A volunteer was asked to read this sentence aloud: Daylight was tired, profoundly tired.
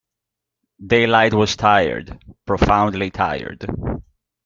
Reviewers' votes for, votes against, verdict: 2, 1, accepted